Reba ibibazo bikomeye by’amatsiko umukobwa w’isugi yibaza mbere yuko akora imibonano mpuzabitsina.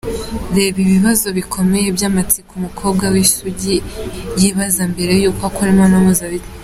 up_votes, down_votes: 2, 1